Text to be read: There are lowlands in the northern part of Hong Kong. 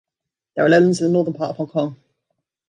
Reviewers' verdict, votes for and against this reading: rejected, 1, 2